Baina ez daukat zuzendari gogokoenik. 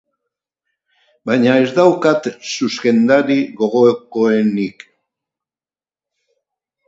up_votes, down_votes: 4, 2